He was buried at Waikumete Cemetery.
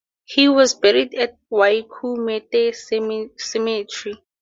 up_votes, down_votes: 2, 0